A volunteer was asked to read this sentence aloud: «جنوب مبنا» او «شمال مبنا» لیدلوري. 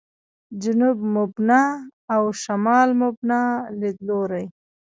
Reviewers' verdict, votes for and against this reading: accepted, 2, 0